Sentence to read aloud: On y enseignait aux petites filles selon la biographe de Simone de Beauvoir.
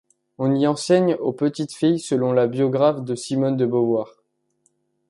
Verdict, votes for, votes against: rejected, 0, 2